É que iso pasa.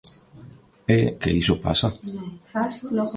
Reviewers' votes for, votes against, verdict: 1, 2, rejected